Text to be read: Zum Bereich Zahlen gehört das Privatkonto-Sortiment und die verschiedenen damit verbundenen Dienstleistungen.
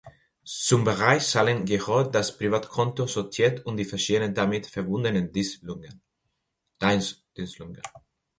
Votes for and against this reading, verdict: 0, 2, rejected